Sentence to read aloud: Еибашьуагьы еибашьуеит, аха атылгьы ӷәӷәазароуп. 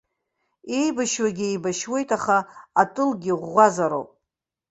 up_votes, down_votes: 2, 0